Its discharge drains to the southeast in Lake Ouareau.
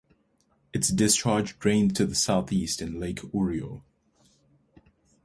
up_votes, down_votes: 2, 4